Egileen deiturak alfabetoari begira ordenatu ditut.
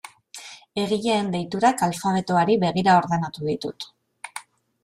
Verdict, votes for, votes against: accepted, 2, 0